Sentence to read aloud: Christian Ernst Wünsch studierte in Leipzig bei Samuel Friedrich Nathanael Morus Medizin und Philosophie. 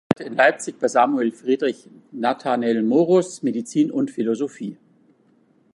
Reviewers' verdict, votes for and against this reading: rejected, 0, 2